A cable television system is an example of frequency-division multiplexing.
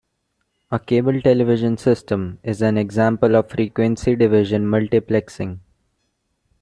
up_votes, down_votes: 2, 0